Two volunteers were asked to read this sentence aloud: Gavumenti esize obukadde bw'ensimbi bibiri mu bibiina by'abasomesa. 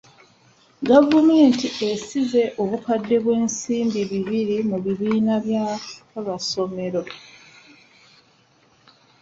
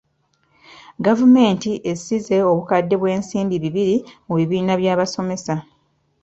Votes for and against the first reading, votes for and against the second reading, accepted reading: 0, 2, 2, 0, second